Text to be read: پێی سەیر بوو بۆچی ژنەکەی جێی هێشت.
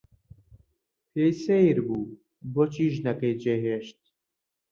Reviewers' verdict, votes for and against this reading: accepted, 2, 0